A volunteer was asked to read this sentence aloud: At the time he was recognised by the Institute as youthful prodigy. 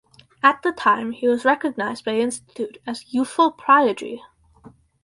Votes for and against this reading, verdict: 0, 2, rejected